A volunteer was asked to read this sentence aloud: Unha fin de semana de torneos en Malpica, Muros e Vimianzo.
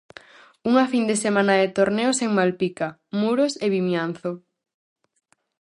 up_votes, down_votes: 4, 0